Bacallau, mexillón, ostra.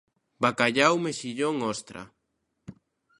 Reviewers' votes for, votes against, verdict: 2, 0, accepted